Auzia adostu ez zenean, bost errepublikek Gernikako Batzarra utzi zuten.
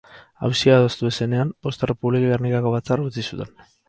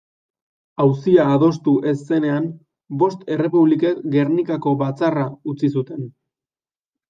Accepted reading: second